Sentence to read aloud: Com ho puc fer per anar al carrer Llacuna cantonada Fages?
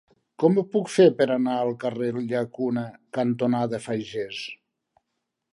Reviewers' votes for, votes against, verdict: 0, 2, rejected